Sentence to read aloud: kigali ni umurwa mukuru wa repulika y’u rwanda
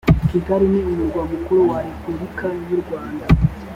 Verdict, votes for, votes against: accepted, 2, 0